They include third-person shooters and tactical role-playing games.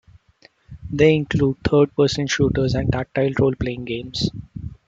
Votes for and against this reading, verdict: 0, 2, rejected